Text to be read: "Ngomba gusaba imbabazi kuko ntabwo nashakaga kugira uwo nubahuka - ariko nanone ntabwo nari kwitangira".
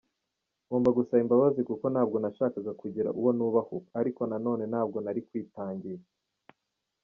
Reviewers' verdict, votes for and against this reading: rejected, 0, 2